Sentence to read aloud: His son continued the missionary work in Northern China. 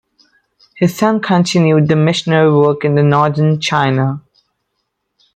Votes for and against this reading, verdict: 1, 2, rejected